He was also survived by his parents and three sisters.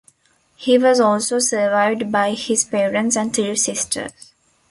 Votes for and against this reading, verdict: 2, 1, accepted